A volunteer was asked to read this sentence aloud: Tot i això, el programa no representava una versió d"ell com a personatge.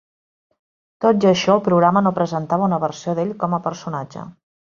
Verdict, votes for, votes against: rejected, 1, 2